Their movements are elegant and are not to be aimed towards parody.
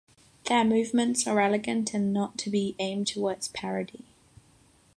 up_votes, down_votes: 0, 6